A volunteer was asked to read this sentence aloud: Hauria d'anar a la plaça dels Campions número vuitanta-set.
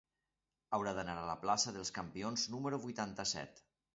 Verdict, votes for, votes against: rejected, 0, 2